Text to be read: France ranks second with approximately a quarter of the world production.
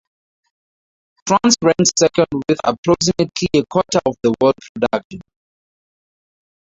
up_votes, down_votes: 2, 0